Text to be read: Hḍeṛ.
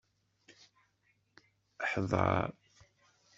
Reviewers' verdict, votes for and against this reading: rejected, 1, 2